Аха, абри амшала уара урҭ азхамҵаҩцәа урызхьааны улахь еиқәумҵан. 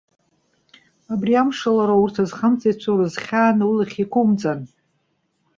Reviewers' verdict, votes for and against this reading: rejected, 1, 2